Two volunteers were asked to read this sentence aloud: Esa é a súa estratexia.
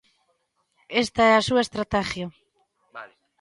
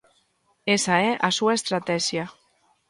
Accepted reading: second